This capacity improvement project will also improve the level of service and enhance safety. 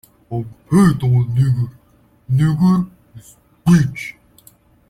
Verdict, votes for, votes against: rejected, 0, 2